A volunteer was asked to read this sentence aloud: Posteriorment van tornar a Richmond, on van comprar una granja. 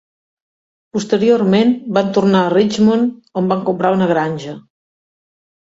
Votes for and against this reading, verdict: 2, 0, accepted